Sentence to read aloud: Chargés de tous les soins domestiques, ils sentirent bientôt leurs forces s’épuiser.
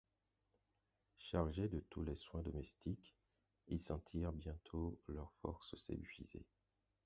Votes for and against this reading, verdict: 4, 2, accepted